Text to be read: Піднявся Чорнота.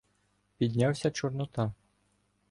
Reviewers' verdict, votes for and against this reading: rejected, 0, 2